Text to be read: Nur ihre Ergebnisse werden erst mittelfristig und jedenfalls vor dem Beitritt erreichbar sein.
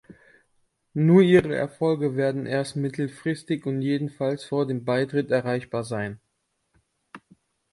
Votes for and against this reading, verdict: 1, 2, rejected